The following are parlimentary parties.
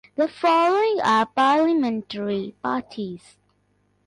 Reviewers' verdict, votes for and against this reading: accepted, 2, 1